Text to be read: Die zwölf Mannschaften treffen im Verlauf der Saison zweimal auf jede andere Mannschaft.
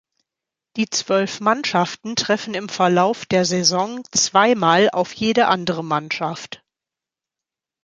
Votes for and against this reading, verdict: 2, 0, accepted